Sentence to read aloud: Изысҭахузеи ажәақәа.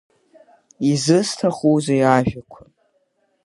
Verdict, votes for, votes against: accepted, 3, 0